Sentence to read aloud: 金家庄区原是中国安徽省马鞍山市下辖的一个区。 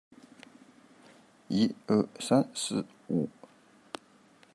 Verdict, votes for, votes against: rejected, 0, 2